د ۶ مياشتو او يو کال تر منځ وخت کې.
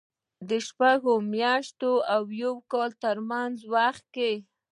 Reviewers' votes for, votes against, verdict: 0, 2, rejected